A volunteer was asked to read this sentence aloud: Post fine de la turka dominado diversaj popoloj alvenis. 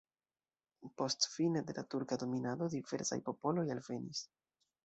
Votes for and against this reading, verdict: 2, 1, accepted